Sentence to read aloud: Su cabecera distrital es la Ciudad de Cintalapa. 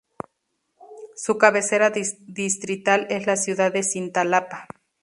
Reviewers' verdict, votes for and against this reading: rejected, 0, 2